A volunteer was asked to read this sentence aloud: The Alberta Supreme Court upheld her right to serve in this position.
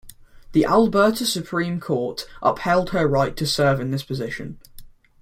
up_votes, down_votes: 2, 0